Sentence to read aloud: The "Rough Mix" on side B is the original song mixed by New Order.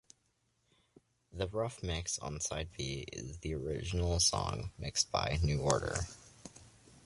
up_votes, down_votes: 2, 0